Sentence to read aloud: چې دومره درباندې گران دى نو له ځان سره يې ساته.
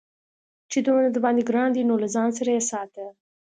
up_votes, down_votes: 2, 0